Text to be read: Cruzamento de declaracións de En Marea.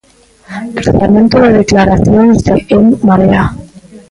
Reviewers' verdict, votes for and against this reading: rejected, 1, 2